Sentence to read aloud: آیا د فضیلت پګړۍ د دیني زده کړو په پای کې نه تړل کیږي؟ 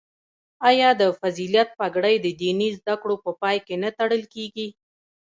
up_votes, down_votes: 1, 2